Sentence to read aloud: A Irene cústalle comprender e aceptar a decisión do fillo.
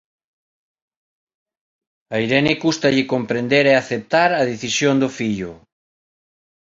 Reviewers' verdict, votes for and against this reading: accepted, 2, 0